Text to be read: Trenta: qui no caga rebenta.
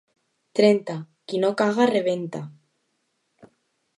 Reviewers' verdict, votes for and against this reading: accepted, 2, 0